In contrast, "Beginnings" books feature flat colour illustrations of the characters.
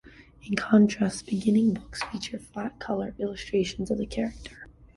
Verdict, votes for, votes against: accepted, 2, 1